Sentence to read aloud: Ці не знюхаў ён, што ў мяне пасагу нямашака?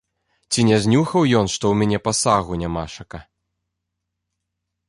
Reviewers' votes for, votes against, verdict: 2, 0, accepted